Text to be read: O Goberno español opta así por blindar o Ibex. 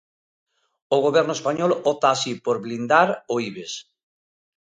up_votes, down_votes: 2, 0